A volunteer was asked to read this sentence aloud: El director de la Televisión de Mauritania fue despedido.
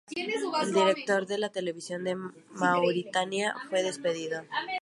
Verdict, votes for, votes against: rejected, 0, 4